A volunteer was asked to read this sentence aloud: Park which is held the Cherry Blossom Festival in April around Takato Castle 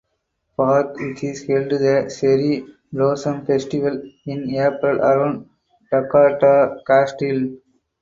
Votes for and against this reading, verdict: 4, 2, accepted